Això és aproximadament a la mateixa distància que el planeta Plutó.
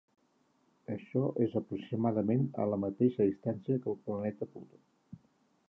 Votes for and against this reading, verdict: 2, 1, accepted